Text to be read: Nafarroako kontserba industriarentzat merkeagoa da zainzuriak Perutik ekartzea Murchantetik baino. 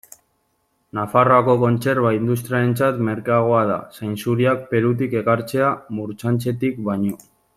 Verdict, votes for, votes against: rejected, 0, 2